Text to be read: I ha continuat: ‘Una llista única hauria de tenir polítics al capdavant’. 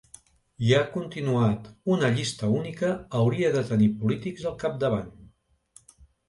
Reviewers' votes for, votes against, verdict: 2, 0, accepted